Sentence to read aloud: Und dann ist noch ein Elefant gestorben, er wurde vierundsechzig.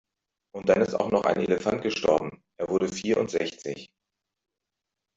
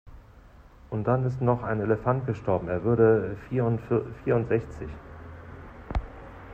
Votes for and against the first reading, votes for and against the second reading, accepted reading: 2, 0, 0, 2, first